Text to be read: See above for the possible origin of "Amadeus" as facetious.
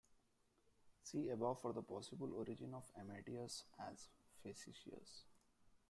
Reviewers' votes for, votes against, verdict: 0, 2, rejected